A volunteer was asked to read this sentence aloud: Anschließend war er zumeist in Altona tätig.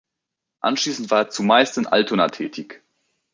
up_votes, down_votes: 3, 0